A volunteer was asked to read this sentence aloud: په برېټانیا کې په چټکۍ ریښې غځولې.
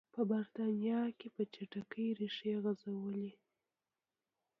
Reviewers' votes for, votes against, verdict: 2, 0, accepted